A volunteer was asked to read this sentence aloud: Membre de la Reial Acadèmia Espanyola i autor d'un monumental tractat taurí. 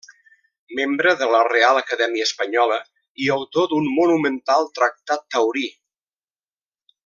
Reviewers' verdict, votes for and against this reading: rejected, 1, 2